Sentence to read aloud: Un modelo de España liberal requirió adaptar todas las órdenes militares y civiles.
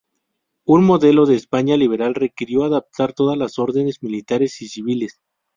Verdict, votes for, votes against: accepted, 4, 0